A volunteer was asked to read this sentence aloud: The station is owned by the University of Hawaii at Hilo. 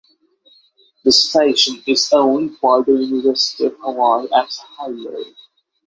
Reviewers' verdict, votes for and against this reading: accepted, 6, 0